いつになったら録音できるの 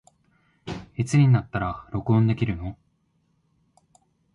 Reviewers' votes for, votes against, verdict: 2, 0, accepted